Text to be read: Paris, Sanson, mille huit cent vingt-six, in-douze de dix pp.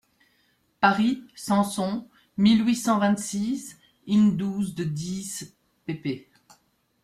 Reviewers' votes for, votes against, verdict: 2, 0, accepted